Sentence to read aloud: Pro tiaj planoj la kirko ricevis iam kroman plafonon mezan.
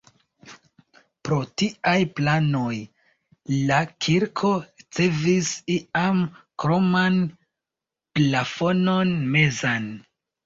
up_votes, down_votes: 1, 2